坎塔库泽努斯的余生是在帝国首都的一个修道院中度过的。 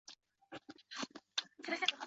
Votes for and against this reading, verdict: 1, 2, rejected